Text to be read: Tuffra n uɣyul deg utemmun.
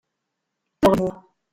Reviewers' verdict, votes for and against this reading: rejected, 0, 2